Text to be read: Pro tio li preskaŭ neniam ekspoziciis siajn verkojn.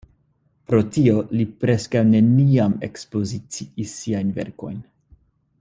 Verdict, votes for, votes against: accepted, 2, 0